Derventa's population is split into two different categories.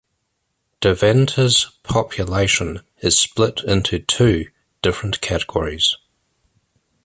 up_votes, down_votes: 2, 0